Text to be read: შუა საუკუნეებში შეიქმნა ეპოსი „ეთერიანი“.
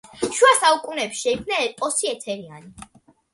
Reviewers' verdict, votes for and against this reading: accepted, 2, 0